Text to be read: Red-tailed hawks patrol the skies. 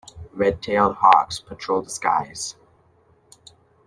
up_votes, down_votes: 2, 0